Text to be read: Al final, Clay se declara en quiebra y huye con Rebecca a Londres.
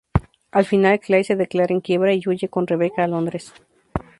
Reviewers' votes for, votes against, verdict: 0, 2, rejected